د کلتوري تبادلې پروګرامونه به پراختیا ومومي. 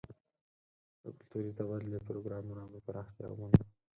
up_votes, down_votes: 0, 4